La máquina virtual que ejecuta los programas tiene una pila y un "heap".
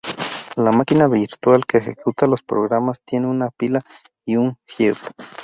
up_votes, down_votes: 2, 2